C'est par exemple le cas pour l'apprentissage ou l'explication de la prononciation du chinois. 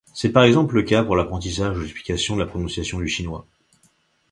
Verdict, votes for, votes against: rejected, 1, 2